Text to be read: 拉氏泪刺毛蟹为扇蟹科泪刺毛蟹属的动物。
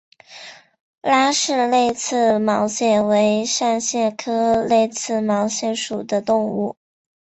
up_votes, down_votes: 2, 1